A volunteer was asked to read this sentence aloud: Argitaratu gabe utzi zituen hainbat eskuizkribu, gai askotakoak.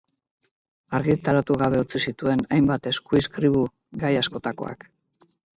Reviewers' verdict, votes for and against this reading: accepted, 6, 0